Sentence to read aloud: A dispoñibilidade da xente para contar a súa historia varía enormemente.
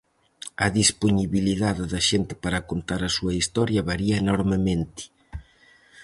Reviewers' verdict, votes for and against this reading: accepted, 4, 0